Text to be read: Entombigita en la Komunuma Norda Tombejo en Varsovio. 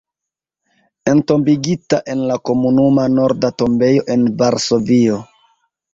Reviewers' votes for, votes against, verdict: 1, 2, rejected